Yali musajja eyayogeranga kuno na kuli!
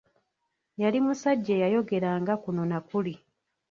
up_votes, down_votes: 1, 2